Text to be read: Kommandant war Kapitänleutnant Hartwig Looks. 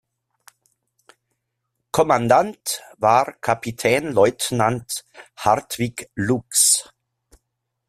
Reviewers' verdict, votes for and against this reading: accepted, 2, 0